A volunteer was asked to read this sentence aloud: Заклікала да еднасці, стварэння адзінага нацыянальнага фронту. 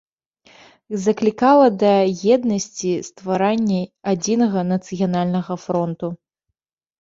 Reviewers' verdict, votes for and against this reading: rejected, 1, 2